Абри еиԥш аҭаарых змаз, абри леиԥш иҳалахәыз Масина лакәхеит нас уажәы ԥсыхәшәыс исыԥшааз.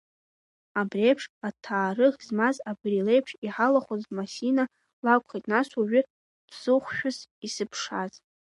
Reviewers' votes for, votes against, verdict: 2, 1, accepted